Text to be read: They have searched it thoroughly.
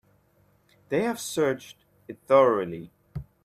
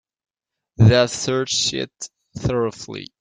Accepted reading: first